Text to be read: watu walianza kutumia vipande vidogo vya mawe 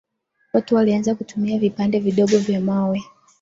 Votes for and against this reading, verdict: 2, 0, accepted